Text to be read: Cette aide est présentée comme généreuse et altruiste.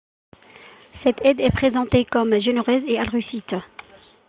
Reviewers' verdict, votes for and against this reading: rejected, 0, 2